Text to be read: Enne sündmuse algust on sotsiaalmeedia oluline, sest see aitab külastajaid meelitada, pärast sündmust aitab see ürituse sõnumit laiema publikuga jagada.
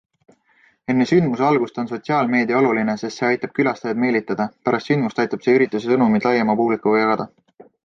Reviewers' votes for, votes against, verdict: 2, 0, accepted